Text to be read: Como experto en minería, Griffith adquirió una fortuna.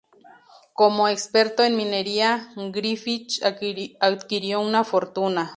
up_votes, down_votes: 2, 2